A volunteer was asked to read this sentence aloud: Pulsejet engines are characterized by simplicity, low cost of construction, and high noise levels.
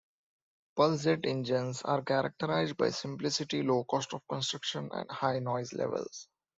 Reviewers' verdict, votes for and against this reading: accepted, 2, 0